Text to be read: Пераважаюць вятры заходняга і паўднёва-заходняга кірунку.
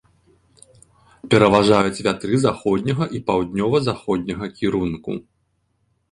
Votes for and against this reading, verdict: 2, 0, accepted